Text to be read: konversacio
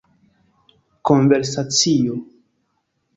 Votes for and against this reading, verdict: 2, 0, accepted